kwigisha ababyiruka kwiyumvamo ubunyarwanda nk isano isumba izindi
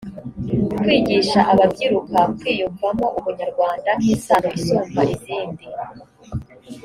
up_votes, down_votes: 2, 0